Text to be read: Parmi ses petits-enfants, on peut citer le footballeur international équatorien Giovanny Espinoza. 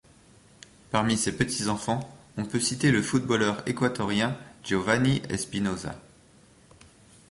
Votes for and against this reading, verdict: 0, 3, rejected